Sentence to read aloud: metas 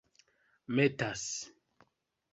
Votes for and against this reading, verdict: 2, 1, accepted